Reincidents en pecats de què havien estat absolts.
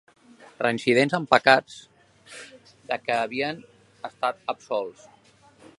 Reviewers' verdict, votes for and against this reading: rejected, 1, 2